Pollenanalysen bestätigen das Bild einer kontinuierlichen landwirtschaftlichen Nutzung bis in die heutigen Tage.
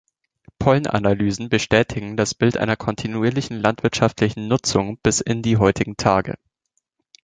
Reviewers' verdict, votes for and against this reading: accepted, 2, 0